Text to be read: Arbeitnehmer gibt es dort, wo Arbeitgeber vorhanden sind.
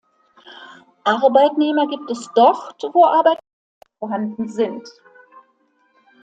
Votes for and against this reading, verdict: 0, 2, rejected